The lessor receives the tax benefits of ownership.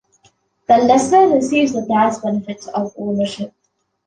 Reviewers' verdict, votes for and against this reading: accepted, 2, 0